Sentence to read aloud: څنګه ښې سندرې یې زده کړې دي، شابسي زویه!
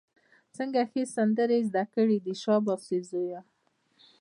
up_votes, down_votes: 2, 0